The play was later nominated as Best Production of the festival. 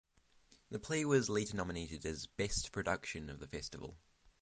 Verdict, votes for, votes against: accepted, 6, 0